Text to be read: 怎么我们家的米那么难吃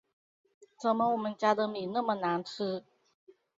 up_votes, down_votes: 2, 2